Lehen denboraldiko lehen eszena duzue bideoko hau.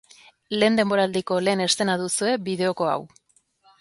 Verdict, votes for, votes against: accepted, 2, 0